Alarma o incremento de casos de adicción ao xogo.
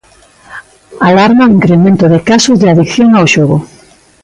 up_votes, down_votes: 2, 0